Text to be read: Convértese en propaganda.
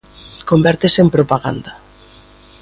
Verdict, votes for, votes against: accepted, 2, 0